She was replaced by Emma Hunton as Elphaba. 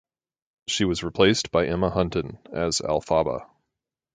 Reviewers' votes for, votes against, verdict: 4, 0, accepted